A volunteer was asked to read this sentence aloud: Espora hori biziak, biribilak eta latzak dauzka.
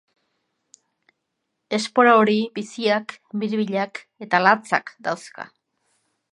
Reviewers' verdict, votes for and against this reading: accepted, 2, 0